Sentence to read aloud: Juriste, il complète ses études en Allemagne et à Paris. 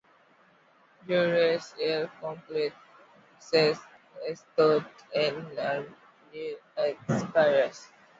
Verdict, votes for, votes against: accepted, 2, 1